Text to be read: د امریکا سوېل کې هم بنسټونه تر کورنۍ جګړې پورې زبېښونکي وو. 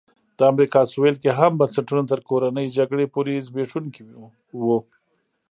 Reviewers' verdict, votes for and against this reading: accepted, 2, 0